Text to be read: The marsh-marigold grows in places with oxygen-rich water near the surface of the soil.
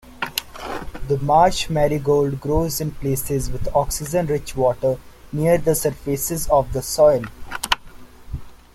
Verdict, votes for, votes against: rejected, 0, 2